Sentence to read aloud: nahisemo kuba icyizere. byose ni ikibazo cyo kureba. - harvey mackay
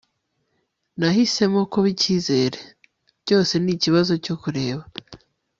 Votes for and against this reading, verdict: 1, 2, rejected